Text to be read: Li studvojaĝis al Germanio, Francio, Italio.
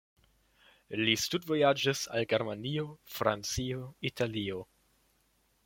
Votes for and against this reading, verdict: 2, 0, accepted